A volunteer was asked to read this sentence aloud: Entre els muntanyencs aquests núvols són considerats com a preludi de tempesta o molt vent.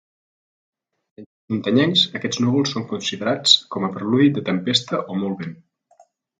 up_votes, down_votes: 0, 3